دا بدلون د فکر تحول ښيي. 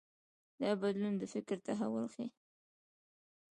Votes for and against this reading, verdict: 2, 0, accepted